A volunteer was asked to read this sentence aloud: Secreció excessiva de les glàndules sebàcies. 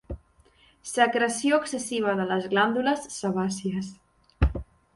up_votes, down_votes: 4, 0